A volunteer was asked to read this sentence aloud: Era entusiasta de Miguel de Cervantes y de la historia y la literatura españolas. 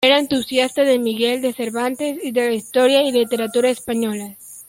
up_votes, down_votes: 1, 2